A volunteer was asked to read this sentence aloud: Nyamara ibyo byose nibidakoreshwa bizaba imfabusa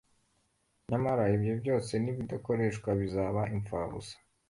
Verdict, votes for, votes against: accepted, 2, 0